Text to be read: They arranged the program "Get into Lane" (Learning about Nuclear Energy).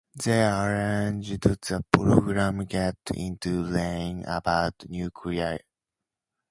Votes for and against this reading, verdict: 0, 2, rejected